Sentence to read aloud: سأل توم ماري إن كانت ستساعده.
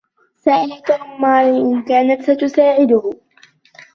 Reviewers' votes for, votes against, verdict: 2, 0, accepted